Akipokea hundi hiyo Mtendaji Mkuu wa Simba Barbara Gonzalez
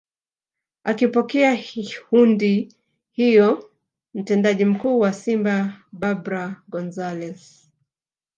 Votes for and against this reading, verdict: 1, 3, rejected